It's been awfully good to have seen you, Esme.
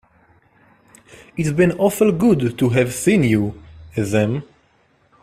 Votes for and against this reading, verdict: 0, 2, rejected